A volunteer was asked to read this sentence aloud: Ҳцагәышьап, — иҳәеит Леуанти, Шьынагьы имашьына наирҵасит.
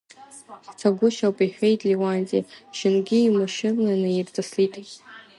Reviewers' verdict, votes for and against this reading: rejected, 0, 2